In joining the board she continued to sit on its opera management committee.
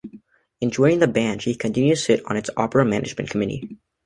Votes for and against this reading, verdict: 0, 2, rejected